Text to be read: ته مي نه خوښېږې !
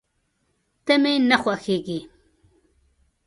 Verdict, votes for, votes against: accepted, 2, 0